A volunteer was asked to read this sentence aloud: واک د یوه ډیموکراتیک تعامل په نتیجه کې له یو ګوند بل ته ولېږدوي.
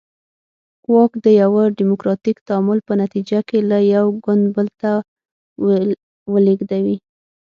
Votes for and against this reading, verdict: 6, 0, accepted